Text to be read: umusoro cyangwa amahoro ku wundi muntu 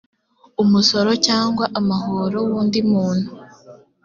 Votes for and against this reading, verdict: 0, 2, rejected